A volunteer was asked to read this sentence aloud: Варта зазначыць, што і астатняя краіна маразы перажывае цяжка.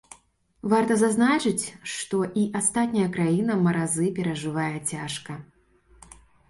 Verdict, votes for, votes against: accepted, 2, 0